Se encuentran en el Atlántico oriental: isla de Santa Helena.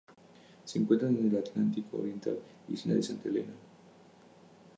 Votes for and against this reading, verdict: 2, 0, accepted